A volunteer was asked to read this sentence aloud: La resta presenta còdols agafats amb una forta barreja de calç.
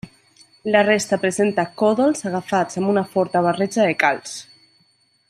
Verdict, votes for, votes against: accepted, 3, 0